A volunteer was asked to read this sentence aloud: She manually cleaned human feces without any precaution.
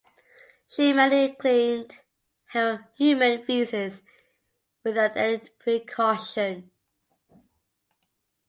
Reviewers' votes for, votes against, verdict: 0, 2, rejected